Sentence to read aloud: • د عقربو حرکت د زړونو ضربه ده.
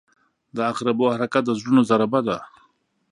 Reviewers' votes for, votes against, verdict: 2, 0, accepted